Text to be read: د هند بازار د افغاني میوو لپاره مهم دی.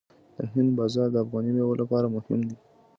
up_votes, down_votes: 2, 0